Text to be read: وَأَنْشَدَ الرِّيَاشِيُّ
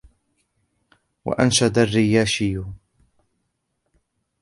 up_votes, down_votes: 0, 2